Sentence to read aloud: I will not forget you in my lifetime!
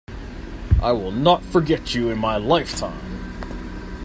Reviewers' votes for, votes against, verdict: 2, 0, accepted